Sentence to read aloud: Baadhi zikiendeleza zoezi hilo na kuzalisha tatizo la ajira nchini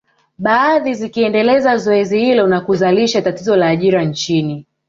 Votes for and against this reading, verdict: 2, 0, accepted